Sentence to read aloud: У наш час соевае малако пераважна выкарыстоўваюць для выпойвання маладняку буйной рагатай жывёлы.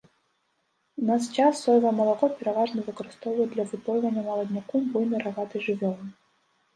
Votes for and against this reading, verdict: 1, 2, rejected